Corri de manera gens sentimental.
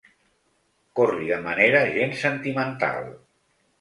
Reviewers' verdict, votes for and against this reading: accepted, 2, 0